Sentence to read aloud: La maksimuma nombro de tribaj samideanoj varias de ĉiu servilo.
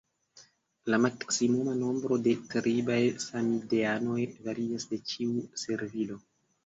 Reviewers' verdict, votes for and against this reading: accepted, 2, 0